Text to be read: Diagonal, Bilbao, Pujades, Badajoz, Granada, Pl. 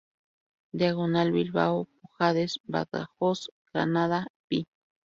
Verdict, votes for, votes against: rejected, 0, 2